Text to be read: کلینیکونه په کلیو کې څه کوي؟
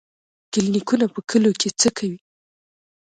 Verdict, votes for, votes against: accepted, 2, 0